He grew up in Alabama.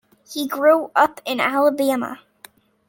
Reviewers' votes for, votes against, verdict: 2, 0, accepted